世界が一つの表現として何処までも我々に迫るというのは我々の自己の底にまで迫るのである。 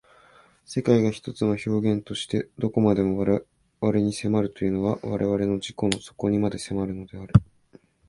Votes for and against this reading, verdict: 3, 1, accepted